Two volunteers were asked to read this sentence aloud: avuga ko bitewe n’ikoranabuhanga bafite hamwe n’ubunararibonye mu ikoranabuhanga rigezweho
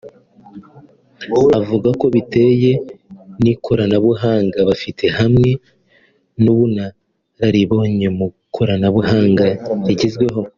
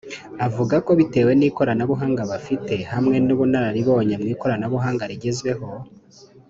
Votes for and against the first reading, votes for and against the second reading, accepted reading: 2, 1, 0, 2, first